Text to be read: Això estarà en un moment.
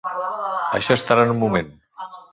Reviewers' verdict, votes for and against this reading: rejected, 1, 2